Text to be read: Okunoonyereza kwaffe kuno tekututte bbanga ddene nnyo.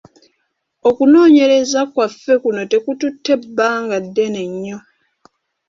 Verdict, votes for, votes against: accepted, 2, 0